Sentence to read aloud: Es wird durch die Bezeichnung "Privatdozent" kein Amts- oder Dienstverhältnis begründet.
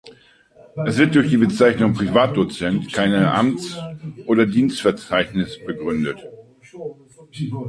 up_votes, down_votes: 0, 2